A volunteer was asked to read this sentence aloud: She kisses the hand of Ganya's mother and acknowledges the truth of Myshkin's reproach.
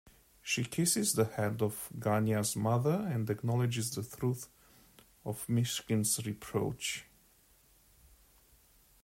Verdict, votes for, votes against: accepted, 2, 0